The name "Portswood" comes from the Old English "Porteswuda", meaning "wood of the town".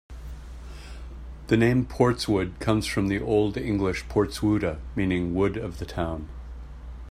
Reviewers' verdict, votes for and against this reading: accepted, 2, 0